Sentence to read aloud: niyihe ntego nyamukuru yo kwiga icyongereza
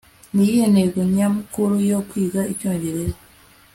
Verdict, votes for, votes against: accepted, 2, 0